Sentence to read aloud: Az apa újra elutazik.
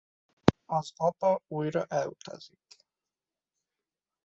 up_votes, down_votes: 2, 1